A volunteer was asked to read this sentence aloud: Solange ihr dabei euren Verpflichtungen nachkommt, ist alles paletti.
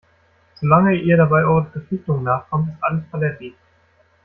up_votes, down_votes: 0, 2